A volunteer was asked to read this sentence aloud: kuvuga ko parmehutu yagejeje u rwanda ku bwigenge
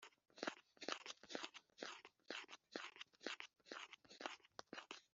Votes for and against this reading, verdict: 1, 3, rejected